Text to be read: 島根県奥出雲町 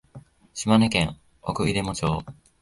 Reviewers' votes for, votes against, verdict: 1, 2, rejected